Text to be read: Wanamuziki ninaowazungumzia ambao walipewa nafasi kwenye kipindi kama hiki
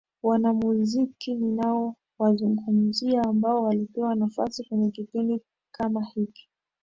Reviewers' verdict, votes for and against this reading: accepted, 2, 0